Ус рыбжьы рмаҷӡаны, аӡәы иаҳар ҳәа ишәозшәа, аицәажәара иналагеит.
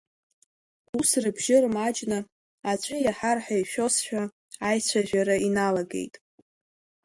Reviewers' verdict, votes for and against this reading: rejected, 0, 3